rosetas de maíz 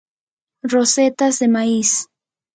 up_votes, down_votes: 0, 2